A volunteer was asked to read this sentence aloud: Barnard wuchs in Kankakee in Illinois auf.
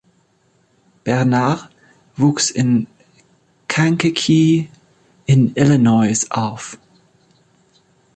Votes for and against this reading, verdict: 0, 4, rejected